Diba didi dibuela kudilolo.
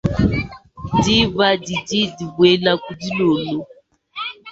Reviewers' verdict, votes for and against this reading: rejected, 1, 2